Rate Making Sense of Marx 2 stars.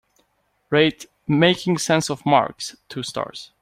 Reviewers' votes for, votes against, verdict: 0, 2, rejected